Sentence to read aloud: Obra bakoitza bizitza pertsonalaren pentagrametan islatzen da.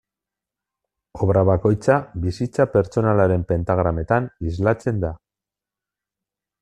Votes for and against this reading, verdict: 2, 1, accepted